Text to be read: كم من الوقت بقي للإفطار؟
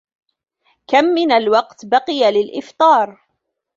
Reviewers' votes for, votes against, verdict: 2, 0, accepted